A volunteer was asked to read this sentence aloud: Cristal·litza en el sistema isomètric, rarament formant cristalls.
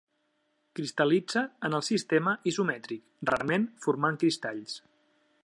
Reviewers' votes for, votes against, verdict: 2, 0, accepted